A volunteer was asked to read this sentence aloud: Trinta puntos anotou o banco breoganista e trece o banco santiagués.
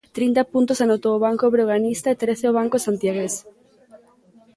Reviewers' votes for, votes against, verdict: 2, 0, accepted